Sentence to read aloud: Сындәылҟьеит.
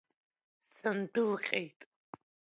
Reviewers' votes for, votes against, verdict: 2, 1, accepted